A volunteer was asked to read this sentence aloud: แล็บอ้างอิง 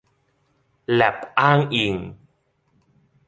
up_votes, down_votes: 2, 0